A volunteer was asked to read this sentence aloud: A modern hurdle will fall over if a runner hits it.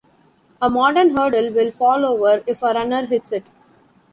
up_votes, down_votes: 2, 0